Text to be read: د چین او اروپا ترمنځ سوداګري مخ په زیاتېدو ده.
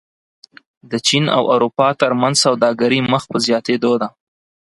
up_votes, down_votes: 4, 0